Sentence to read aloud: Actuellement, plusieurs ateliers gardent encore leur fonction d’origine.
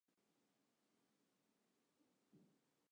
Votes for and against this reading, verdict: 0, 2, rejected